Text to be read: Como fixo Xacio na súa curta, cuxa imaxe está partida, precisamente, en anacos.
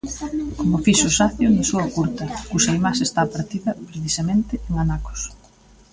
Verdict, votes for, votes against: rejected, 0, 2